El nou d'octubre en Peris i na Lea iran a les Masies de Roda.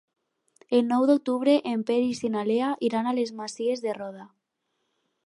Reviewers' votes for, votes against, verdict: 4, 0, accepted